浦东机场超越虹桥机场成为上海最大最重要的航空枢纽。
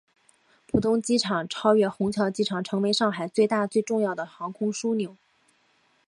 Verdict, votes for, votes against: accepted, 3, 0